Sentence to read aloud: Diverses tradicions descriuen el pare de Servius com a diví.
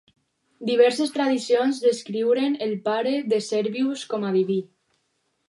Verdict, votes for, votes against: rejected, 2, 2